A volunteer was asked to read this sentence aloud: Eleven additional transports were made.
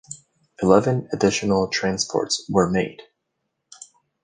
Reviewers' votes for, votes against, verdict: 2, 0, accepted